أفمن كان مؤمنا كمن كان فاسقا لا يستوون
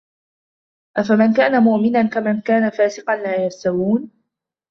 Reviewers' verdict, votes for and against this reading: accepted, 2, 0